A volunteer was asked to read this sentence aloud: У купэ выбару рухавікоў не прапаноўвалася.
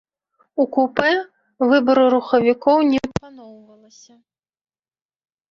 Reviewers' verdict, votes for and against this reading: rejected, 0, 2